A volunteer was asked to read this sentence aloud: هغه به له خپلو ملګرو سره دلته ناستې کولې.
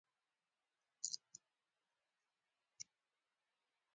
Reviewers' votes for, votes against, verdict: 0, 2, rejected